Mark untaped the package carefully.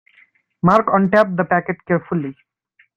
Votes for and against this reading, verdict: 1, 2, rejected